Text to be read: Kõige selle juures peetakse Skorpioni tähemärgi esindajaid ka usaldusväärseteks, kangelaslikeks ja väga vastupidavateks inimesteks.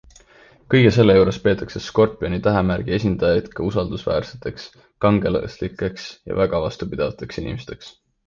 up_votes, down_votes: 2, 0